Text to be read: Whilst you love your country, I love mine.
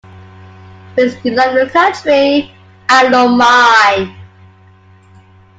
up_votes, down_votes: 2, 1